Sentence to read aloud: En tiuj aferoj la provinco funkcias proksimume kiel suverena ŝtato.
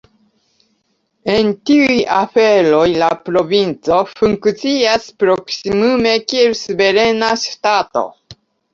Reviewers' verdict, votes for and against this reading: rejected, 0, 2